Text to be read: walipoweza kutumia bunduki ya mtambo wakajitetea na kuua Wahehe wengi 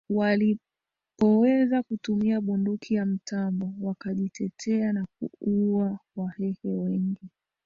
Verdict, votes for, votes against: rejected, 0, 2